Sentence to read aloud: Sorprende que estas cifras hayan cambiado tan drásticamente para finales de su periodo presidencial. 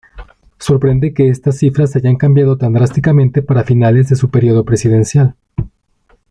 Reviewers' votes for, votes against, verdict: 2, 0, accepted